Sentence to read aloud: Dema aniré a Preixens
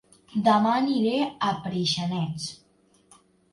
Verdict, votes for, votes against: rejected, 0, 2